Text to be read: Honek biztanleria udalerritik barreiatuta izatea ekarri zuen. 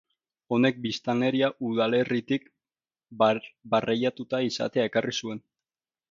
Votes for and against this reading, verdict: 0, 2, rejected